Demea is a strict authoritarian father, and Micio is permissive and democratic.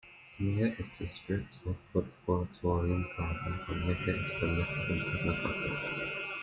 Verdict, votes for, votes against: rejected, 0, 2